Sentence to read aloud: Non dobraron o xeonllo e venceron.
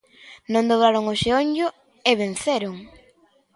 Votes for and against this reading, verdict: 2, 0, accepted